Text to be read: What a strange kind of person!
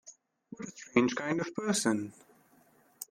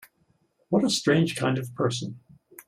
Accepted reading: second